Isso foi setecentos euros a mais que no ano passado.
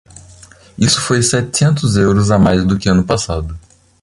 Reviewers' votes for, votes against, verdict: 0, 2, rejected